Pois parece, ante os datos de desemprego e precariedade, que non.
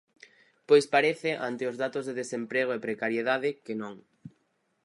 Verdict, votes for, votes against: accepted, 4, 0